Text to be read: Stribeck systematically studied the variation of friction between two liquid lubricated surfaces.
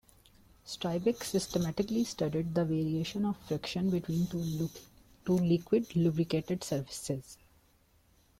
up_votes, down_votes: 1, 2